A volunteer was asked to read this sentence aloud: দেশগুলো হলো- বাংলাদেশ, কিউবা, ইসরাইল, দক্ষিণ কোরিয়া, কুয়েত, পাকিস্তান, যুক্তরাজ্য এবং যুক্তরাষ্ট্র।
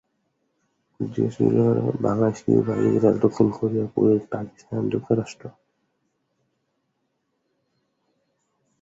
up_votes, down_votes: 0, 3